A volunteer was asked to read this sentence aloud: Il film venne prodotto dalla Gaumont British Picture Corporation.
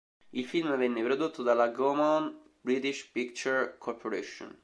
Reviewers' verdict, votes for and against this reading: accepted, 2, 0